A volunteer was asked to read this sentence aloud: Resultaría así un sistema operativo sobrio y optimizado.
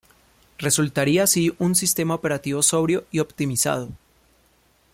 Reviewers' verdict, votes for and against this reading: accepted, 2, 0